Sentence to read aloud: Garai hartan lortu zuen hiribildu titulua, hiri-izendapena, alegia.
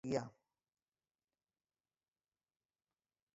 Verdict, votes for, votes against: rejected, 0, 3